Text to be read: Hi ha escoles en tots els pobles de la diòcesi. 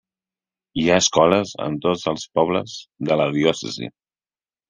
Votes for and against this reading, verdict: 3, 0, accepted